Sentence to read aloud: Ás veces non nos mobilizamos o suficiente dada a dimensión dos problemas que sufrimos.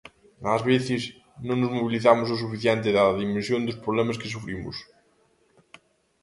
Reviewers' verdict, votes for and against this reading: rejected, 0, 2